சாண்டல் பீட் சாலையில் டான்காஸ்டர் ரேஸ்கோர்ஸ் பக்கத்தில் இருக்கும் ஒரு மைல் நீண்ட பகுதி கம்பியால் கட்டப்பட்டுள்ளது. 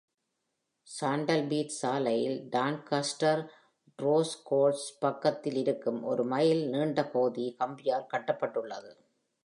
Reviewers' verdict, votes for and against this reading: accepted, 2, 0